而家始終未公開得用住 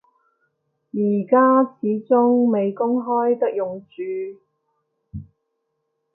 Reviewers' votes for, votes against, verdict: 2, 0, accepted